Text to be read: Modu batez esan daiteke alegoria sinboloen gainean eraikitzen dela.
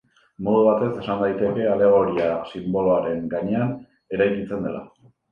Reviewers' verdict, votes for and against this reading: rejected, 3, 4